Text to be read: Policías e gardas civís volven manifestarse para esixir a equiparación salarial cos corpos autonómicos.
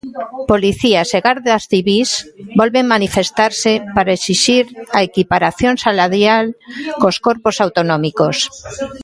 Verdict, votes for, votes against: rejected, 1, 2